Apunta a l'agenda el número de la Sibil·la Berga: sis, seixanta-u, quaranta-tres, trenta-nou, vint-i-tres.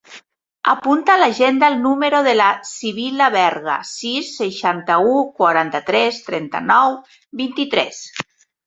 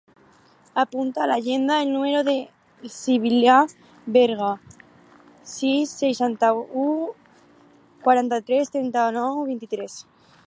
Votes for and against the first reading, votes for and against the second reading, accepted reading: 3, 0, 0, 4, first